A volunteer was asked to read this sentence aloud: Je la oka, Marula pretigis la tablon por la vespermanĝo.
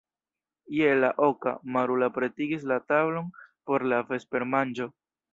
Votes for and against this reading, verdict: 1, 2, rejected